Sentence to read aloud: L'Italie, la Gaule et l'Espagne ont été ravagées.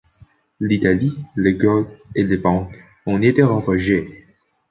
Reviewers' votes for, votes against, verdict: 0, 2, rejected